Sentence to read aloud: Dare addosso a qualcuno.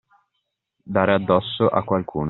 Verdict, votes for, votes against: accepted, 2, 1